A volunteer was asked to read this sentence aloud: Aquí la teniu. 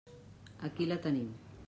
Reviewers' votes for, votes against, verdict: 0, 2, rejected